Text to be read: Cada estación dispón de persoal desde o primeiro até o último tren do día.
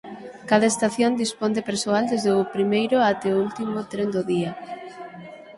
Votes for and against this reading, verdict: 9, 3, accepted